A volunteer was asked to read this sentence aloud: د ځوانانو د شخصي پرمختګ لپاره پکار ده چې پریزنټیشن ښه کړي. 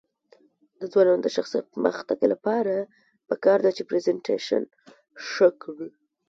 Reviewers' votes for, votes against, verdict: 2, 3, rejected